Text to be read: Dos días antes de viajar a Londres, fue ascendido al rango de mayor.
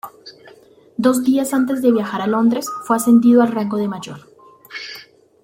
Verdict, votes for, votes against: accepted, 2, 0